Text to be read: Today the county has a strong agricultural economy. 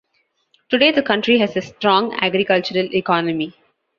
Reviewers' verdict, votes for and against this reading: rejected, 1, 2